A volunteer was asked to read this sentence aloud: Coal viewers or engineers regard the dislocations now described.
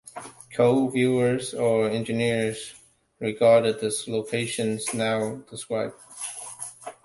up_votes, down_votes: 0, 2